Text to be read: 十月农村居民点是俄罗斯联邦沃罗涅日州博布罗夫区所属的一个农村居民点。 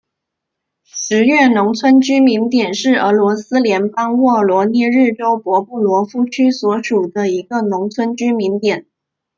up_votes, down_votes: 2, 0